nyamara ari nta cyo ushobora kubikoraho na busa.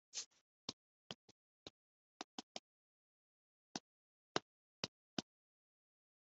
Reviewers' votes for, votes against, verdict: 0, 3, rejected